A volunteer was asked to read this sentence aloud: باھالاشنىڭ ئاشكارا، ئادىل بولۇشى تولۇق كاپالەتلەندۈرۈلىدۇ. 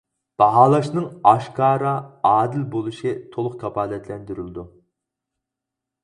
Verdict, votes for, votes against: accepted, 4, 0